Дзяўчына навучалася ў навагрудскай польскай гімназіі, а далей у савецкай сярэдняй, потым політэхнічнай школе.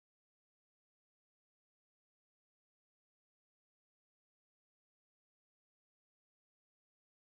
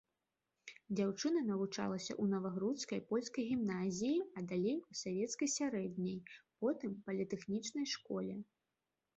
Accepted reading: second